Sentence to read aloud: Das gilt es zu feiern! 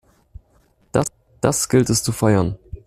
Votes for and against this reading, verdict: 1, 2, rejected